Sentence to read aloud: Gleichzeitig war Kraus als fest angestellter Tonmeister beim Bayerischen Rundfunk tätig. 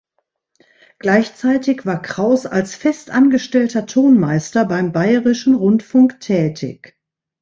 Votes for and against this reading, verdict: 2, 0, accepted